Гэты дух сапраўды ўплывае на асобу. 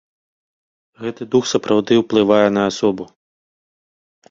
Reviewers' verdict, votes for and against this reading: accepted, 2, 0